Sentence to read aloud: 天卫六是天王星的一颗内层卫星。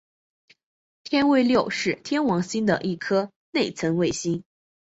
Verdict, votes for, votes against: accepted, 5, 0